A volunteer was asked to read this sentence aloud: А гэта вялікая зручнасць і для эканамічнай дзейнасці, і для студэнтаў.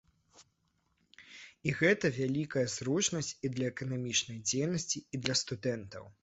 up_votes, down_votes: 0, 2